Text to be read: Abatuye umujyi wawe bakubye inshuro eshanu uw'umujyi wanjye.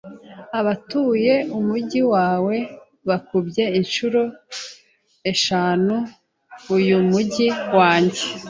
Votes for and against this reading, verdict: 0, 2, rejected